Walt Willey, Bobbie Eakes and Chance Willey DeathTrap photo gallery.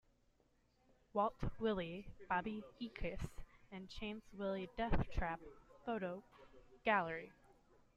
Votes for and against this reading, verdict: 2, 1, accepted